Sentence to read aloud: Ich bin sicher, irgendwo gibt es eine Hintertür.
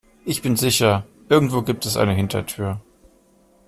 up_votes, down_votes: 2, 0